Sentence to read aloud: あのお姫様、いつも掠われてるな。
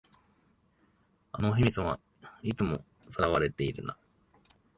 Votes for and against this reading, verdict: 1, 2, rejected